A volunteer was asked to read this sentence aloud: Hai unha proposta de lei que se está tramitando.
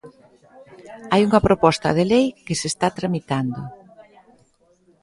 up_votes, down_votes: 2, 0